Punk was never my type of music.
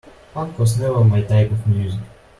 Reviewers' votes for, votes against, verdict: 1, 2, rejected